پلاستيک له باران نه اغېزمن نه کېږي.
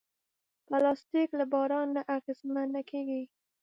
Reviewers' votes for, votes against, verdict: 2, 0, accepted